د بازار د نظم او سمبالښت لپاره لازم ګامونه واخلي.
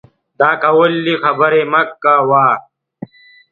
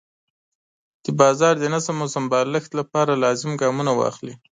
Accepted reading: second